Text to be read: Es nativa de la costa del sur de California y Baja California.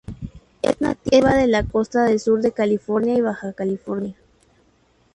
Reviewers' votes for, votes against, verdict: 2, 0, accepted